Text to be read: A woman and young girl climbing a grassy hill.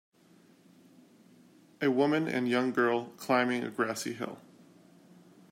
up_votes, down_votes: 2, 0